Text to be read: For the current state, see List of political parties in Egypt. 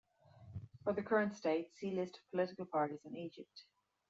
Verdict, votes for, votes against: accepted, 2, 1